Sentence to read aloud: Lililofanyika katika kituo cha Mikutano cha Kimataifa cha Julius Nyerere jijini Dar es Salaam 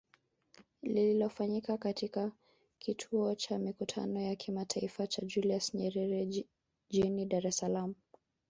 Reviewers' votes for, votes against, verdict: 1, 2, rejected